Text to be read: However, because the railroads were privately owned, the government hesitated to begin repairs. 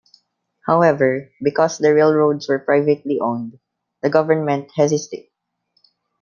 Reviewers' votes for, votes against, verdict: 0, 2, rejected